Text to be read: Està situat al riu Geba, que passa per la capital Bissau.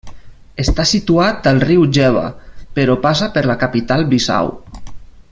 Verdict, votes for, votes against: rejected, 0, 2